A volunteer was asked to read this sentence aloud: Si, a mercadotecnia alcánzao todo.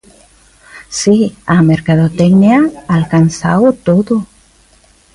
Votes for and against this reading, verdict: 2, 0, accepted